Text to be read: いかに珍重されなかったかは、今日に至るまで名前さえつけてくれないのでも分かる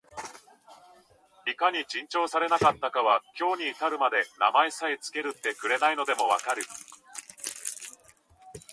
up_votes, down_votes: 0, 2